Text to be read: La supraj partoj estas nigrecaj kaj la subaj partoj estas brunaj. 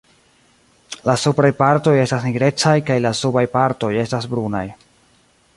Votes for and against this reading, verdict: 2, 0, accepted